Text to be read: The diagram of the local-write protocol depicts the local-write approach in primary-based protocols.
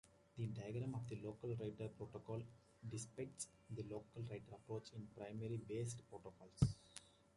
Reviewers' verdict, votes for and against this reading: rejected, 1, 2